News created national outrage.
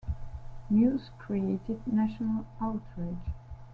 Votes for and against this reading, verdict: 2, 0, accepted